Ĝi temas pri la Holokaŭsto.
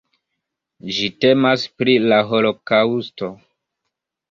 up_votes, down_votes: 1, 2